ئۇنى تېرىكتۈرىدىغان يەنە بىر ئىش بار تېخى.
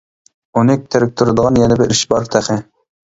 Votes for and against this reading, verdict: 2, 1, accepted